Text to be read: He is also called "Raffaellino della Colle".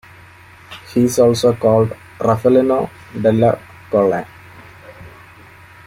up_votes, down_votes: 2, 1